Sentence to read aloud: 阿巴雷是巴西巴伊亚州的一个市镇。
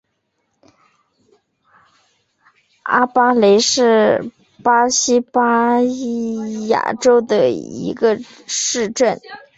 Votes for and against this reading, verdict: 1, 2, rejected